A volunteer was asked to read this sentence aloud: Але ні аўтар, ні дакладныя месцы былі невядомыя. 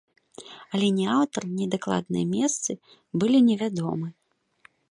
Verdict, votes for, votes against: rejected, 1, 4